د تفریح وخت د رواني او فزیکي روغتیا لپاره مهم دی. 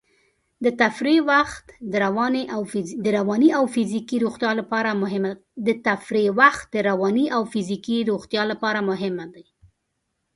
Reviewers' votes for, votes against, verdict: 0, 2, rejected